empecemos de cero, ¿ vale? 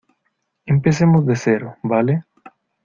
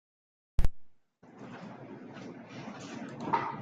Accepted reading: first